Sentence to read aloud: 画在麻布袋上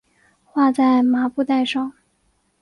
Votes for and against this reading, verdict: 2, 1, accepted